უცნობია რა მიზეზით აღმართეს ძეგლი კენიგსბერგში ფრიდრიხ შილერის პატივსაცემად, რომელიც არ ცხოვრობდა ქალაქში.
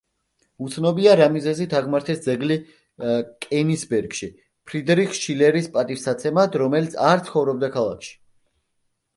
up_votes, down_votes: 1, 2